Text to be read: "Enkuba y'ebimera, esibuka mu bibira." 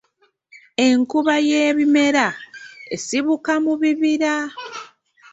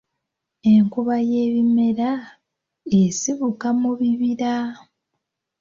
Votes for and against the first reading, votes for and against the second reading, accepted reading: 1, 2, 2, 0, second